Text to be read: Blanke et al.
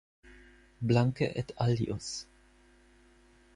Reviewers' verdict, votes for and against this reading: rejected, 4, 6